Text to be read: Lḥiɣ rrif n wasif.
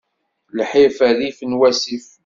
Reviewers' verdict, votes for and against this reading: rejected, 1, 2